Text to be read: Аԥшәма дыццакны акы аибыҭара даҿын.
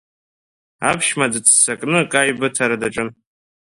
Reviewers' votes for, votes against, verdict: 2, 1, accepted